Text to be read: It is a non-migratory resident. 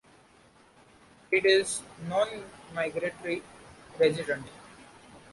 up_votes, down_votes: 0, 2